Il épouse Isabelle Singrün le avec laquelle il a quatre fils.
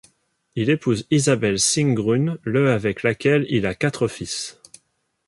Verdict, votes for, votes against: accepted, 2, 0